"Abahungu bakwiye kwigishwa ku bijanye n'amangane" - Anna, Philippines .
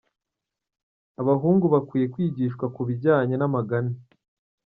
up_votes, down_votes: 1, 2